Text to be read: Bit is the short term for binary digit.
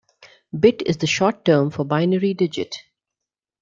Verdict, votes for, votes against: accepted, 2, 0